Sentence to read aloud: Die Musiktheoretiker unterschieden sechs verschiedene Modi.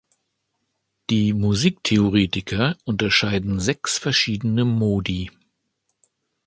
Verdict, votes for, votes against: accepted, 2, 1